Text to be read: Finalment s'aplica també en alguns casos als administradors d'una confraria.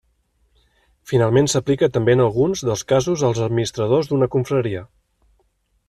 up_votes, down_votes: 1, 2